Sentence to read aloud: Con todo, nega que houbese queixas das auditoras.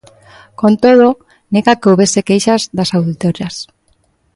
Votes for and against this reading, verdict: 2, 0, accepted